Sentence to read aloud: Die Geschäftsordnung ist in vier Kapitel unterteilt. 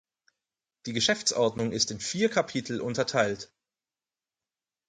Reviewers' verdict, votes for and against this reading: accepted, 4, 0